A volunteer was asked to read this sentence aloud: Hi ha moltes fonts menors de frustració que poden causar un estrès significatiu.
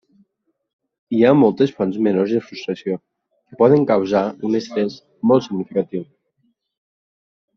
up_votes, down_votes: 0, 2